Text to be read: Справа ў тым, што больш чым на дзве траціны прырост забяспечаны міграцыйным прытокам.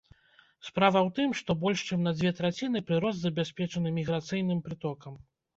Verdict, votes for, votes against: accepted, 2, 0